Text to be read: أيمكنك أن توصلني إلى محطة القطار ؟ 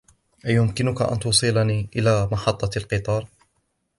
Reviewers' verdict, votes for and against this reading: accepted, 2, 0